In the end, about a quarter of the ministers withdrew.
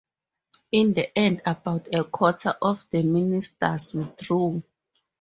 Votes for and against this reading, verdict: 4, 0, accepted